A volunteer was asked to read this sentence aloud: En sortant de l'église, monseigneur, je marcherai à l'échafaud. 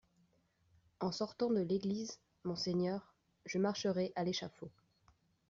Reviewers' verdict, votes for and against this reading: accepted, 2, 0